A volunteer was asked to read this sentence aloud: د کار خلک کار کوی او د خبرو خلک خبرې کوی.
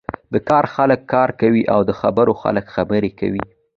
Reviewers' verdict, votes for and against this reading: accepted, 2, 0